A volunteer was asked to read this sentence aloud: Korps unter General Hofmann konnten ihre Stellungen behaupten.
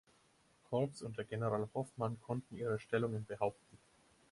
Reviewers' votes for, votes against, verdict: 4, 0, accepted